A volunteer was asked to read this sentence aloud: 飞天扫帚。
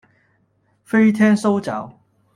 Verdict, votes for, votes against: rejected, 1, 2